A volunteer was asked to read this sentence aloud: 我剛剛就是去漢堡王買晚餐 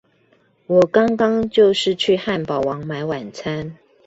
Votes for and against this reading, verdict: 2, 0, accepted